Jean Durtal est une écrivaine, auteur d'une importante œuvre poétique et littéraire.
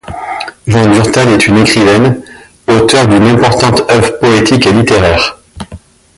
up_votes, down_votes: 2, 0